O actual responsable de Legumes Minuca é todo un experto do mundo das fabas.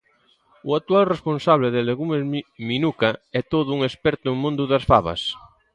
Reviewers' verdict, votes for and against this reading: rejected, 2, 3